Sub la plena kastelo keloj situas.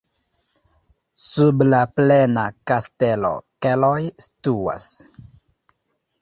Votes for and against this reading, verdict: 0, 2, rejected